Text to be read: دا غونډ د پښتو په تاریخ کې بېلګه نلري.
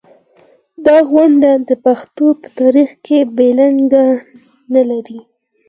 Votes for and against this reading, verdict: 2, 4, rejected